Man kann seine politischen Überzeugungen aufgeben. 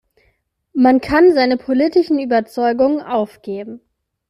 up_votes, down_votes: 2, 0